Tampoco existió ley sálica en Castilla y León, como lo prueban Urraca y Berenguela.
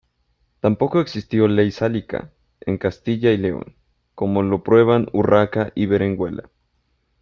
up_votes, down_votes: 0, 3